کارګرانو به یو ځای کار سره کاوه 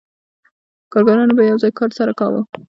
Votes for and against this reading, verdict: 2, 0, accepted